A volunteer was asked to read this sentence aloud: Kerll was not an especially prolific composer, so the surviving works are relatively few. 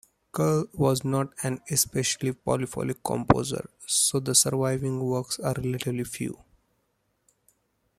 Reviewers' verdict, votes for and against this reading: rejected, 0, 2